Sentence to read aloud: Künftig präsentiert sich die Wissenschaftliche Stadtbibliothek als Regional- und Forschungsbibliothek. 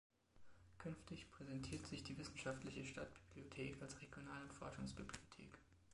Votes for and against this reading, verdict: 1, 2, rejected